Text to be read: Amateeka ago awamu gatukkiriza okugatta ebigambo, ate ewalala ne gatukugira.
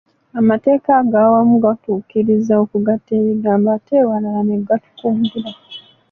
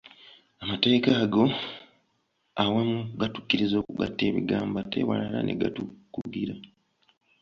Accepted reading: second